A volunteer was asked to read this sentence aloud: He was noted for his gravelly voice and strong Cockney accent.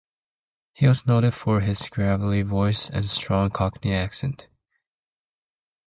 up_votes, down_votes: 4, 0